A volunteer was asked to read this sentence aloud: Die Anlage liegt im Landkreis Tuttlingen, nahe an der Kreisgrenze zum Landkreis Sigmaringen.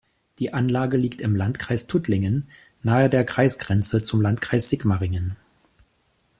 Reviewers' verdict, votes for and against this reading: rejected, 0, 2